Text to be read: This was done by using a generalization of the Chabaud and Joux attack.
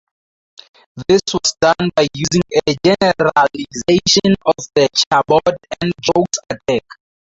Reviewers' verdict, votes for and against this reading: rejected, 0, 2